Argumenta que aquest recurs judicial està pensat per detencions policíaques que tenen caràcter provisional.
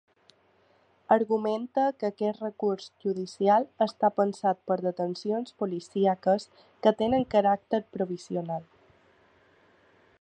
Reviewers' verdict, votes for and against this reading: accepted, 3, 0